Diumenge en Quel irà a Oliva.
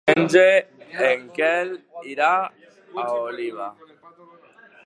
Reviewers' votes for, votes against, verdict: 1, 2, rejected